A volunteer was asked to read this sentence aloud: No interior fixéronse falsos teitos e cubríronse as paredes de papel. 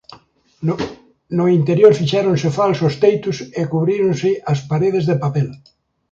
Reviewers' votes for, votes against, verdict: 1, 2, rejected